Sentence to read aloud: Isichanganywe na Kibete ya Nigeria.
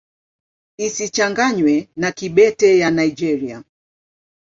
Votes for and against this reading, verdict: 2, 0, accepted